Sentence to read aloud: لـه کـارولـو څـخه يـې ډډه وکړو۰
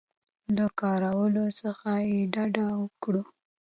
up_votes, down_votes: 0, 2